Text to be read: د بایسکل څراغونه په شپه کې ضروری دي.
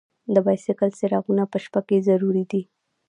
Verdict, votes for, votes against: rejected, 1, 2